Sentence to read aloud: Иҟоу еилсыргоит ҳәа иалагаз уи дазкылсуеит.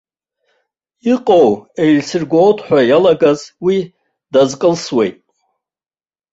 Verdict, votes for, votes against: rejected, 0, 2